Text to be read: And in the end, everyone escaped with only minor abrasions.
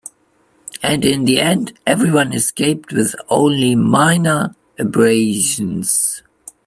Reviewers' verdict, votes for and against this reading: accepted, 3, 0